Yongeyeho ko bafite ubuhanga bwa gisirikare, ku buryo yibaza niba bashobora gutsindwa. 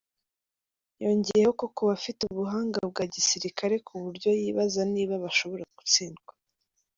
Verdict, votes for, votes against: rejected, 0, 2